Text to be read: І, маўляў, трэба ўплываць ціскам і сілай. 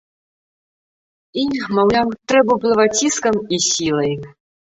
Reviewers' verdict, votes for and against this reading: rejected, 0, 2